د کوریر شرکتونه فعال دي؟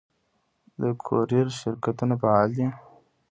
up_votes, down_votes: 1, 2